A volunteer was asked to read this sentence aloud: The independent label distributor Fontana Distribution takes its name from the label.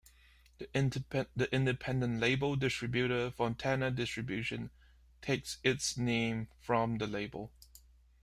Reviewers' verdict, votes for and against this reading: rejected, 0, 2